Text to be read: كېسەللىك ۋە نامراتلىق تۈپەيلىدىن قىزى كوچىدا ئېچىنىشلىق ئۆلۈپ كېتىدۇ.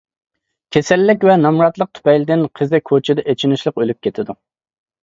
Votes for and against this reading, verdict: 2, 0, accepted